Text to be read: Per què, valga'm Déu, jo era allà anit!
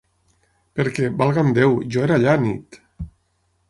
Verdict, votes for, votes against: accepted, 6, 0